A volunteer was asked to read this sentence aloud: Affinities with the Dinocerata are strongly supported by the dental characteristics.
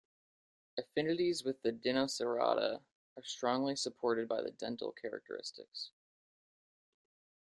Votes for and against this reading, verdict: 2, 1, accepted